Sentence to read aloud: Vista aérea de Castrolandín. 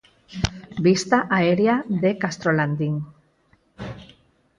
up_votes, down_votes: 2, 4